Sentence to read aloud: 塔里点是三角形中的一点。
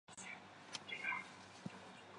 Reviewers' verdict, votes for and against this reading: rejected, 0, 3